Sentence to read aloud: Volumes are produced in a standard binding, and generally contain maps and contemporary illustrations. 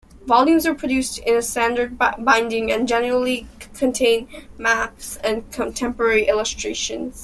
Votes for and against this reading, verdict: 0, 2, rejected